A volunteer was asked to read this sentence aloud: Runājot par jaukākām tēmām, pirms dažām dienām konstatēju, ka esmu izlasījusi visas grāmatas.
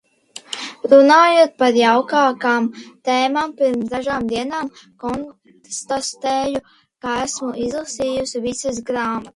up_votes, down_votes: 0, 2